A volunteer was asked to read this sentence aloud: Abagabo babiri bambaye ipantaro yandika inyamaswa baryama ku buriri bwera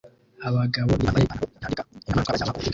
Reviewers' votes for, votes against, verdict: 0, 2, rejected